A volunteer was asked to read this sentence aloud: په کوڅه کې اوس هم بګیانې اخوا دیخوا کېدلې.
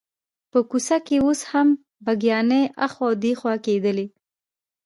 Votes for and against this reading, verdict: 2, 0, accepted